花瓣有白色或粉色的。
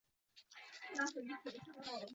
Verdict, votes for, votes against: rejected, 0, 2